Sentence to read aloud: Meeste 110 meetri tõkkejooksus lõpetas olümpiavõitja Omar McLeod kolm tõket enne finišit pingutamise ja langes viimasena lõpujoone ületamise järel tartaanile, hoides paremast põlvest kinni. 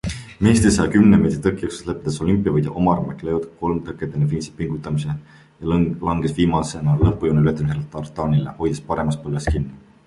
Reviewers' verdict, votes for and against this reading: rejected, 0, 2